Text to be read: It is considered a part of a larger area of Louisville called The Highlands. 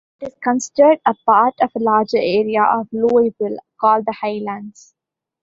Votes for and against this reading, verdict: 1, 2, rejected